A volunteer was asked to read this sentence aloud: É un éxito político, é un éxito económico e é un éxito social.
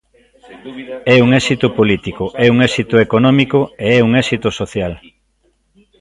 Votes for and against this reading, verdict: 0, 2, rejected